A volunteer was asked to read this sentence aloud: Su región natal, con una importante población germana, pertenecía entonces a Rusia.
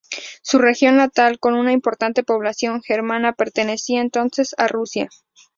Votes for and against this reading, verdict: 2, 0, accepted